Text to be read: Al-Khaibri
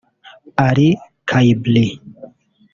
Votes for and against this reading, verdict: 0, 2, rejected